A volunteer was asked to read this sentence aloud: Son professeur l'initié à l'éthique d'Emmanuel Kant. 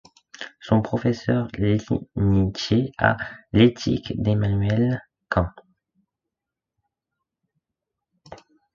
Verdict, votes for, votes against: rejected, 1, 2